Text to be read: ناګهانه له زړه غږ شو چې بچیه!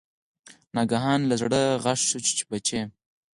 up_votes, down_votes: 6, 2